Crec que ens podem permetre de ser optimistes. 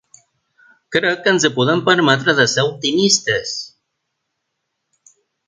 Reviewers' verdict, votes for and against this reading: rejected, 1, 3